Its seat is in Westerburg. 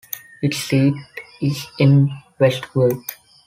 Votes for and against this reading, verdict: 1, 2, rejected